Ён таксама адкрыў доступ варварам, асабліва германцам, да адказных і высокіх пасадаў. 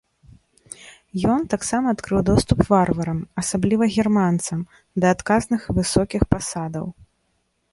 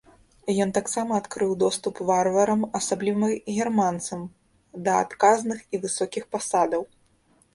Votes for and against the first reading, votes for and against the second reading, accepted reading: 2, 0, 1, 2, first